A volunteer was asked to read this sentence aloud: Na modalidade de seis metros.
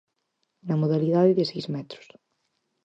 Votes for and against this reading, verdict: 4, 0, accepted